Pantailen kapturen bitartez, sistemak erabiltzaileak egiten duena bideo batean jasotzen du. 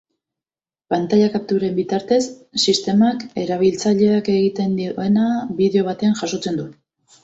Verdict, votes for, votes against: rejected, 0, 2